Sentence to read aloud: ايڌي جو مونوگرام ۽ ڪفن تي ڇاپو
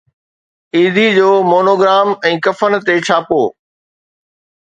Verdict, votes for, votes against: accepted, 2, 0